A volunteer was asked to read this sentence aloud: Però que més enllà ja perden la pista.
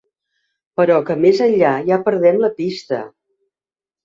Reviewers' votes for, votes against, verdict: 1, 2, rejected